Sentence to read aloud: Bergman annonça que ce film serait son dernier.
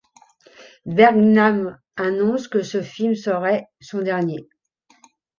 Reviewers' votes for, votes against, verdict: 2, 3, rejected